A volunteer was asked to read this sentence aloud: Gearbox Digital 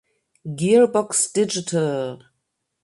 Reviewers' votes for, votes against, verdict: 2, 0, accepted